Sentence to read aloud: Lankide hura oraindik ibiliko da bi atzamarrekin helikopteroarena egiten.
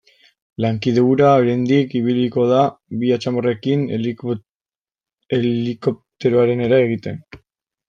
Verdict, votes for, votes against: rejected, 0, 2